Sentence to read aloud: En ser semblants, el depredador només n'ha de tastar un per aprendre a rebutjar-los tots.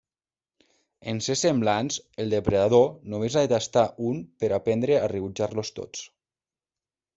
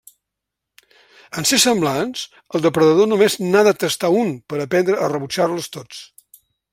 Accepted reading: second